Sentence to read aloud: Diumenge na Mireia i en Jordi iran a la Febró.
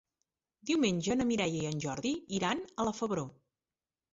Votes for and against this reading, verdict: 4, 0, accepted